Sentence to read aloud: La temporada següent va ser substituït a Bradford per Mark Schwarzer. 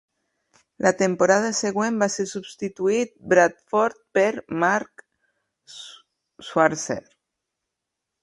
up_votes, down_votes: 0, 2